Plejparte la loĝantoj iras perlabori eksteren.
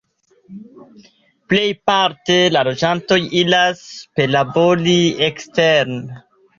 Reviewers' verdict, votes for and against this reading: accepted, 2, 0